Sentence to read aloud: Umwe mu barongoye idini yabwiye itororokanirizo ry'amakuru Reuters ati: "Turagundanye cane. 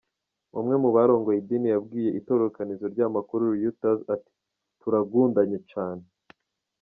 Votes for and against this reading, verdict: 1, 2, rejected